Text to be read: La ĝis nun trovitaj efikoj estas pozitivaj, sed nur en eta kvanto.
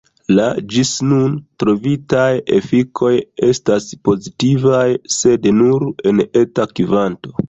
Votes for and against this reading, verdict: 2, 0, accepted